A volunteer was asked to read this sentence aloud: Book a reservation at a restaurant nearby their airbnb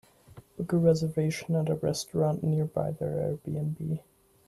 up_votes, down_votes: 2, 0